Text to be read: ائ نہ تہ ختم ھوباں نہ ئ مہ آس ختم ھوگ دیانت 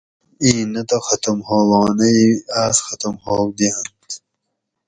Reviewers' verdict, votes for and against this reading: rejected, 2, 2